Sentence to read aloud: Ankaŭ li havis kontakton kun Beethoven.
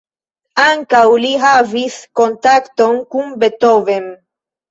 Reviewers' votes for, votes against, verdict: 1, 2, rejected